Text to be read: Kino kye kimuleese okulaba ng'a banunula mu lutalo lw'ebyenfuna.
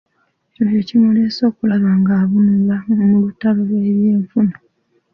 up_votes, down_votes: 0, 2